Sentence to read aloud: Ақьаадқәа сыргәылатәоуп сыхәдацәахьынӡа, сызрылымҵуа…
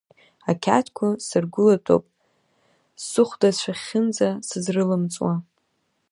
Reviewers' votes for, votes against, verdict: 2, 1, accepted